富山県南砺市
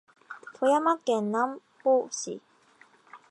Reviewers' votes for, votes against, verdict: 2, 0, accepted